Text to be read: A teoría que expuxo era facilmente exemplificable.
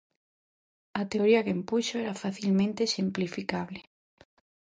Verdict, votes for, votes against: rejected, 0, 2